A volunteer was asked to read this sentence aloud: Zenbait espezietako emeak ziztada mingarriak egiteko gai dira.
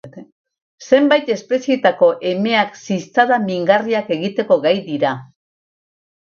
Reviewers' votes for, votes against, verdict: 4, 2, accepted